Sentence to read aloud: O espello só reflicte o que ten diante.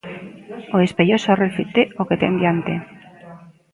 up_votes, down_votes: 1, 2